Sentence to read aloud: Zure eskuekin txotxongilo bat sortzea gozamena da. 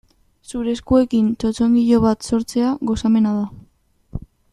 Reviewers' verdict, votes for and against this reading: accepted, 2, 0